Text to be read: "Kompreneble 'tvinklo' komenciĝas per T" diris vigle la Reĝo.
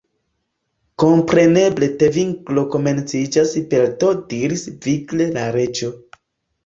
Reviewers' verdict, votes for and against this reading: rejected, 0, 2